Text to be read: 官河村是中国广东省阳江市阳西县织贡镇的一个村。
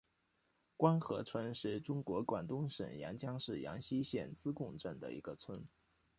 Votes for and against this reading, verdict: 2, 0, accepted